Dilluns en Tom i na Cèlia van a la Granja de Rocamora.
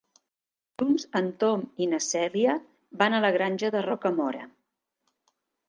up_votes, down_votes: 1, 2